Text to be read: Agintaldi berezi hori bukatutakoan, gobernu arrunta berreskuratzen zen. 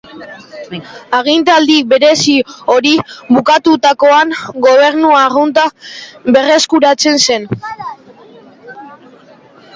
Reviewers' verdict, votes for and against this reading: accepted, 2, 0